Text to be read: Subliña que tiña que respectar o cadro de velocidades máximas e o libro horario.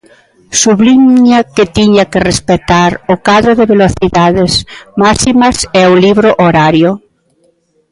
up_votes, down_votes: 3, 1